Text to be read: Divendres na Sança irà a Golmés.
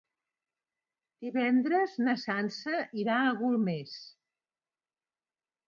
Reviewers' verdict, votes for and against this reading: accepted, 3, 0